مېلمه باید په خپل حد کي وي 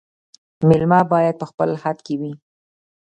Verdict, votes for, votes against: accepted, 2, 1